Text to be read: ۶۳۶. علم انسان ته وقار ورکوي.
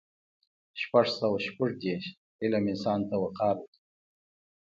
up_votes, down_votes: 0, 2